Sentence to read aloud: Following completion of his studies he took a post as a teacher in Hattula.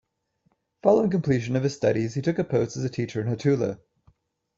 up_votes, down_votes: 2, 0